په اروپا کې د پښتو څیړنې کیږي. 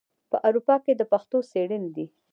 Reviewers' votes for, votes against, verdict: 1, 2, rejected